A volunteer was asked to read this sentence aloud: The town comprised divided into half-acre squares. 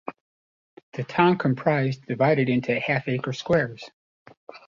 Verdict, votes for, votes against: accepted, 2, 0